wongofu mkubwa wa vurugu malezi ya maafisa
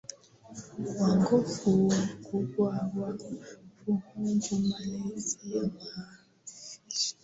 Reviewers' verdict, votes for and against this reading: rejected, 1, 2